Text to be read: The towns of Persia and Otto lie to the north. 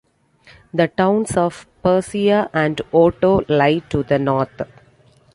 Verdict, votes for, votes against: accepted, 2, 1